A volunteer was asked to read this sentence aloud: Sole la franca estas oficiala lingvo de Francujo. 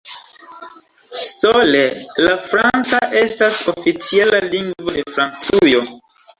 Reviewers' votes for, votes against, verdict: 2, 0, accepted